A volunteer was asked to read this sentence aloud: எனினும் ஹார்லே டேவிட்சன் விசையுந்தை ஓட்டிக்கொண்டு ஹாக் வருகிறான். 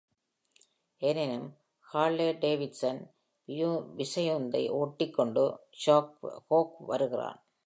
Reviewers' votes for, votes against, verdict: 0, 2, rejected